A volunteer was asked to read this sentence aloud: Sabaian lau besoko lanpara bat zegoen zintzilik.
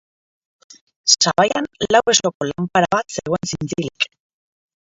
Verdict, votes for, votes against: rejected, 0, 3